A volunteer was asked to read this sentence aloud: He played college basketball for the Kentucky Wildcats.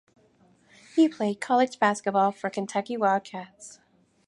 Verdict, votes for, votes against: rejected, 2, 4